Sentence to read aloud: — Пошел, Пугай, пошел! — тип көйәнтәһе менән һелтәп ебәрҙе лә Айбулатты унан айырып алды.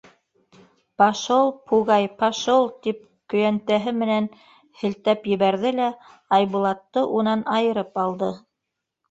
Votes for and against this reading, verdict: 2, 0, accepted